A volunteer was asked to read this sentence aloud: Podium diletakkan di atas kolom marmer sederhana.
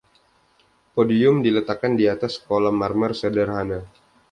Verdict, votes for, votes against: accepted, 2, 0